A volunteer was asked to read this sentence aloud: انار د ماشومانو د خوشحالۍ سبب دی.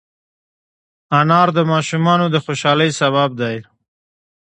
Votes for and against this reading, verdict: 2, 0, accepted